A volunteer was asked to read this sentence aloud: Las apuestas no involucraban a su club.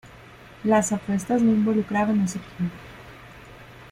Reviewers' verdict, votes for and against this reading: accepted, 2, 1